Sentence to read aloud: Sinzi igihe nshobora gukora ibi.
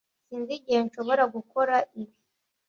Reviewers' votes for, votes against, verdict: 2, 0, accepted